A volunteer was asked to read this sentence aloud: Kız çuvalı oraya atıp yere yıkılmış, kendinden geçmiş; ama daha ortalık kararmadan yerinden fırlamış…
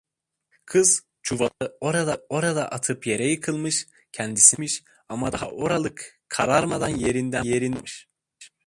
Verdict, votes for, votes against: rejected, 0, 2